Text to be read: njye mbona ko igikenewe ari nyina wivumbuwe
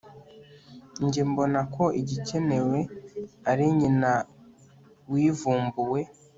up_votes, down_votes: 3, 0